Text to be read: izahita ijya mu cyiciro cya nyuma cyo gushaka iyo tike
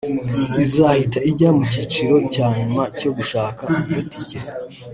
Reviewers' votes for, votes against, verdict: 2, 0, accepted